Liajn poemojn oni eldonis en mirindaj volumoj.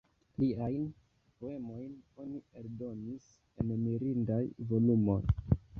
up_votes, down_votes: 1, 2